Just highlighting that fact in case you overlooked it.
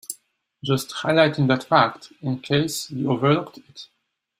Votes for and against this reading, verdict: 2, 0, accepted